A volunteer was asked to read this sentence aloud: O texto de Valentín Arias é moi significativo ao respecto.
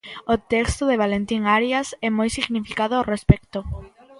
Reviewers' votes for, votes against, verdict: 0, 2, rejected